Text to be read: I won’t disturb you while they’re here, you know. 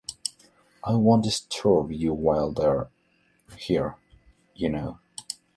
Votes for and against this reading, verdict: 2, 0, accepted